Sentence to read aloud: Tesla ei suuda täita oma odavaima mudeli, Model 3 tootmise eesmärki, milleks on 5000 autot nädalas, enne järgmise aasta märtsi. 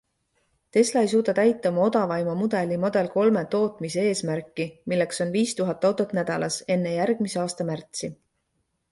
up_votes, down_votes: 0, 2